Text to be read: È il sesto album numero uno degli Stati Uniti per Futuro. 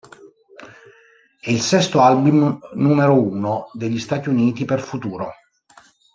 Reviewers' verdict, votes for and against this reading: accepted, 2, 0